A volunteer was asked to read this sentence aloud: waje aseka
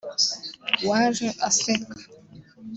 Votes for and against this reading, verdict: 2, 0, accepted